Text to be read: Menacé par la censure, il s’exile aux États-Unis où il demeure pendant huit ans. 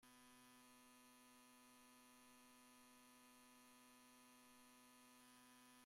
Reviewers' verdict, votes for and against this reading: rejected, 0, 2